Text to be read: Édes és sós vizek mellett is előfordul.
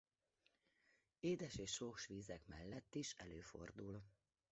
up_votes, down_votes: 1, 2